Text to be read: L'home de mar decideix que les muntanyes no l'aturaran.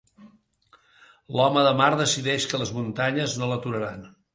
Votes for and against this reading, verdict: 3, 0, accepted